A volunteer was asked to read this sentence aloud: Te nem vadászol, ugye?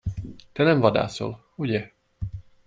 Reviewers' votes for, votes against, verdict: 2, 0, accepted